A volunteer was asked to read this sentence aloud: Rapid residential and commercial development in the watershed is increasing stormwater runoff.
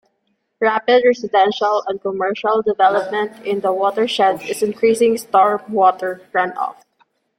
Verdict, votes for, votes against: accepted, 2, 1